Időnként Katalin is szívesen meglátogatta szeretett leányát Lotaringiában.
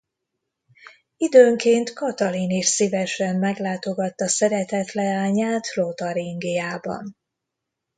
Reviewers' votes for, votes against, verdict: 2, 0, accepted